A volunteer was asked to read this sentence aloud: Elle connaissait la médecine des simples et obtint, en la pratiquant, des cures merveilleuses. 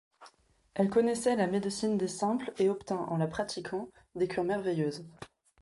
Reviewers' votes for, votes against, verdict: 2, 0, accepted